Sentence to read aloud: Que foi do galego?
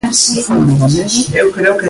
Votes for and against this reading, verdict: 0, 2, rejected